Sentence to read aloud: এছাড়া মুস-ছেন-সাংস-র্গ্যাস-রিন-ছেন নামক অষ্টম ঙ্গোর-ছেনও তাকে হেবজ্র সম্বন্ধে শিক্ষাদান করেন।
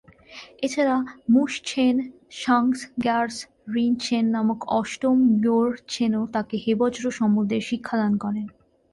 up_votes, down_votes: 3, 1